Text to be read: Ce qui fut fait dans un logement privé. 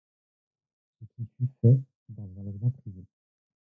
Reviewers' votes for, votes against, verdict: 0, 2, rejected